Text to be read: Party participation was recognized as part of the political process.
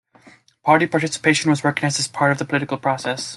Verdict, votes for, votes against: rejected, 1, 2